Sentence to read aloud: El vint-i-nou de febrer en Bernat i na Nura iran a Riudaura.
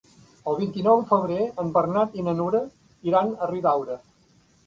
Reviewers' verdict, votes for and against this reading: accepted, 2, 1